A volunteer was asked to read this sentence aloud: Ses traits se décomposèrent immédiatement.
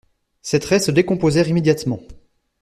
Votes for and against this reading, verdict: 2, 0, accepted